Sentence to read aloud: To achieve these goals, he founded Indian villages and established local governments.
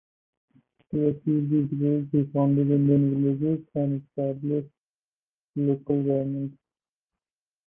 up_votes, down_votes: 0, 4